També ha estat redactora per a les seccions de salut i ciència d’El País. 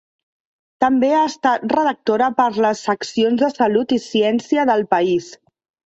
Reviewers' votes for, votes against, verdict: 1, 2, rejected